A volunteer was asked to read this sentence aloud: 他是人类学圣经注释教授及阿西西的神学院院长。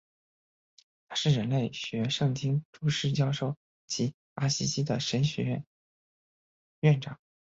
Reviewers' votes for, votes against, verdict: 3, 1, accepted